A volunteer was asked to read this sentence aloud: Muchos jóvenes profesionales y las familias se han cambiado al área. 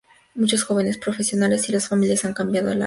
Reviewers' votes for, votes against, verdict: 0, 2, rejected